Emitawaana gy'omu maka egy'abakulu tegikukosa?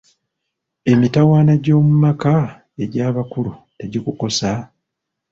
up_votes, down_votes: 1, 2